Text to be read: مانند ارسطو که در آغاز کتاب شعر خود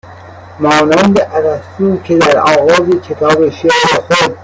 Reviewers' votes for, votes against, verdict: 1, 2, rejected